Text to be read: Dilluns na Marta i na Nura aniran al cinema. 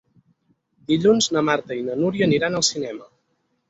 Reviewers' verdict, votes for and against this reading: rejected, 4, 8